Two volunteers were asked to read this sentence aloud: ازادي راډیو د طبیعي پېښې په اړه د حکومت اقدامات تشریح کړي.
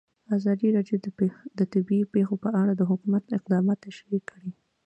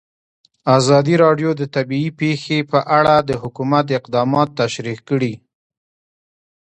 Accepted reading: second